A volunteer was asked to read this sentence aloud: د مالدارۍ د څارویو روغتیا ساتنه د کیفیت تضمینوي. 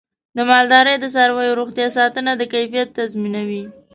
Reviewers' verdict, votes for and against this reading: accepted, 3, 0